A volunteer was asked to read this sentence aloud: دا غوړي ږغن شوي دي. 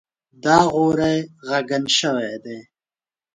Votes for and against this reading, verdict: 0, 2, rejected